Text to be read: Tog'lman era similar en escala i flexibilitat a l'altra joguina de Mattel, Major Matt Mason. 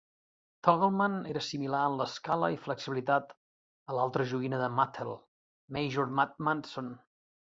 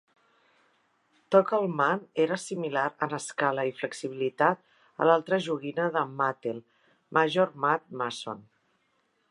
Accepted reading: second